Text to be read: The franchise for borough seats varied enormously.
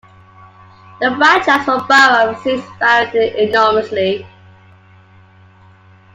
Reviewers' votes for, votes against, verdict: 2, 0, accepted